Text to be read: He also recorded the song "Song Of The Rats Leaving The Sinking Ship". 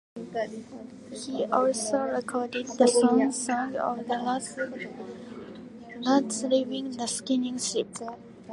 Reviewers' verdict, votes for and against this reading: rejected, 0, 2